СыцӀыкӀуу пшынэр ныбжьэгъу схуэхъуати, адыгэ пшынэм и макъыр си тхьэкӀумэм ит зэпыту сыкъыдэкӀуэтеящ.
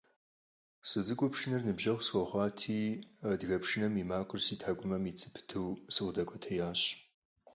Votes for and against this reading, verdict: 4, 0, accepted